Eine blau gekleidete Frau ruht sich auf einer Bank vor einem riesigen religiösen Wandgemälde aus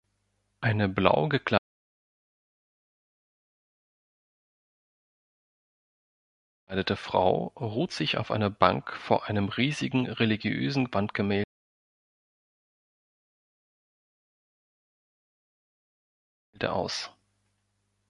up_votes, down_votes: 1, 3